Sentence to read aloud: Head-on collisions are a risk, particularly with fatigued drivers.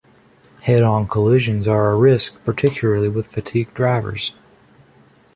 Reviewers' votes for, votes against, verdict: 2, 0, accepted